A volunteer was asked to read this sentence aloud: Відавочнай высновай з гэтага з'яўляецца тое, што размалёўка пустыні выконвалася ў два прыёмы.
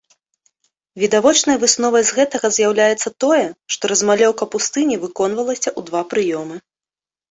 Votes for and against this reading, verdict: 2, 0, accepted